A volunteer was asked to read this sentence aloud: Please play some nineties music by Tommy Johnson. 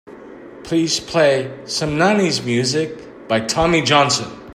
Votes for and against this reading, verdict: 2, 0, accepted